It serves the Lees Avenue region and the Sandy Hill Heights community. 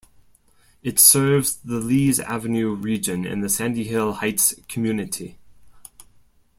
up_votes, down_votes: 2, 0